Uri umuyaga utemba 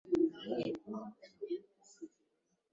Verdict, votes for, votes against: rejected, 1, 2